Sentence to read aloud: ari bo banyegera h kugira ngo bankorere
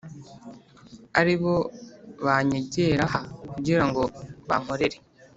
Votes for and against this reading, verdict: 2, 0, accepted